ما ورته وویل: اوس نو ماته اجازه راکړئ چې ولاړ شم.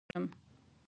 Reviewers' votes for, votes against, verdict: 0, 3, rejected